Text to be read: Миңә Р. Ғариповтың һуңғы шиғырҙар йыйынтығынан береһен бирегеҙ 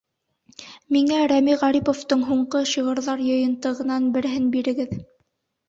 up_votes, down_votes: 0, 2